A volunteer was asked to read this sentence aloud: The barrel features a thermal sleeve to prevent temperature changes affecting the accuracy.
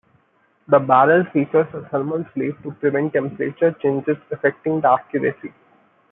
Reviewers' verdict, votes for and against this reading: accepted, 3, 0